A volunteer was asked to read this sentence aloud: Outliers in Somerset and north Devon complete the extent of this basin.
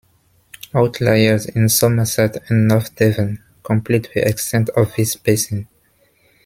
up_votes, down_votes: 2, 0